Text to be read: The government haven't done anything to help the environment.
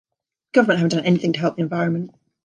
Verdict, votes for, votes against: rejected, 1, 2